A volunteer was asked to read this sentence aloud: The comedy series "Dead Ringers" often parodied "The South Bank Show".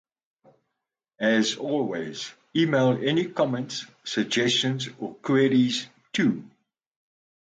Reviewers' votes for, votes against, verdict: 0, 2, rejected